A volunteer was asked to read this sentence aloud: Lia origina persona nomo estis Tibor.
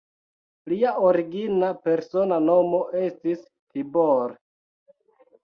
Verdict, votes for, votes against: accepted, 2, 0